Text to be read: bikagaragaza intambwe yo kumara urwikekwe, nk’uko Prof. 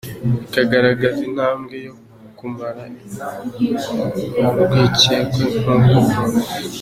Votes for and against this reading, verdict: 2, 1, accepted